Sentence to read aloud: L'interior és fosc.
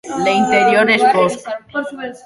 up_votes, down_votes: 1, 2